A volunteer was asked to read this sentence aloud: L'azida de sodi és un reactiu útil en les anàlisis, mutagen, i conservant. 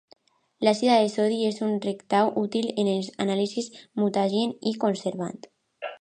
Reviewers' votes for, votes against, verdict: 0, 2, rejected